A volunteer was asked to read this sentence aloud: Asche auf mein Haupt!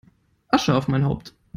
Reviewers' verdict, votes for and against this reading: accepted, 2, 0